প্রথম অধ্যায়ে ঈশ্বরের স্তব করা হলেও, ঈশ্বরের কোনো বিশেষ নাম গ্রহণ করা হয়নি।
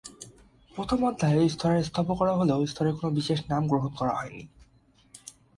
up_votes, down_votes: 0, 6